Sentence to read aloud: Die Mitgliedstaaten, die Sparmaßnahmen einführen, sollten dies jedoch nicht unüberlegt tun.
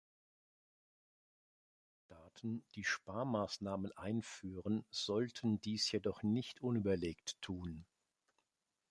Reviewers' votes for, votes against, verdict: 0, 2, rejected